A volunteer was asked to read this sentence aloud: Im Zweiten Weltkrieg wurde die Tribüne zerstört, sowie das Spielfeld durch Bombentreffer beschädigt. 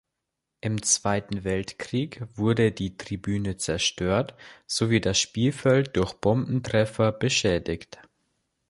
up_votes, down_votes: 2, 0